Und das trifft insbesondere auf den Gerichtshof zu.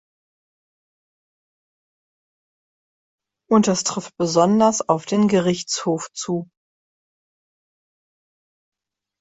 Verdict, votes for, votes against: rejected, 1, 2